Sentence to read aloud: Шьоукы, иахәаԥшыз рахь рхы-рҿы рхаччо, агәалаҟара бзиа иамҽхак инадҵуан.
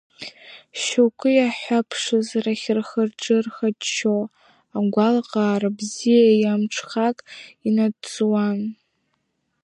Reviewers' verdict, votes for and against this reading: rejected, 1, 2